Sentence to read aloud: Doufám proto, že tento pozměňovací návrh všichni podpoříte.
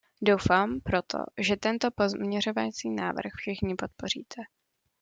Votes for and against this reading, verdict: 1, 2, rejected